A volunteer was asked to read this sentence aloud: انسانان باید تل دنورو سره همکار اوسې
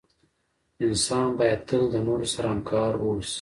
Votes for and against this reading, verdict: 0, 2, rejected